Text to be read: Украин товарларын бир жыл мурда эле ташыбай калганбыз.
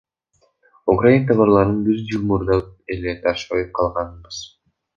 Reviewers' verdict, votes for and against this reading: rejected, 0, 2